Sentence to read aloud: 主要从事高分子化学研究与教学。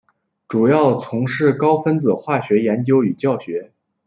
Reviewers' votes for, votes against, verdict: 2, 0, accepted